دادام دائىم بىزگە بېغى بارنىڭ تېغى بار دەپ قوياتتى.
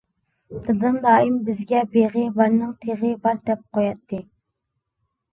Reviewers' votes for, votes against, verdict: 2, 1, accepted